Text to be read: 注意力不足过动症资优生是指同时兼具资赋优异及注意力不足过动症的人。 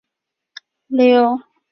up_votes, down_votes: 0, 5